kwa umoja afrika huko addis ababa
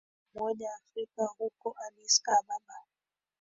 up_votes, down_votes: 2, 3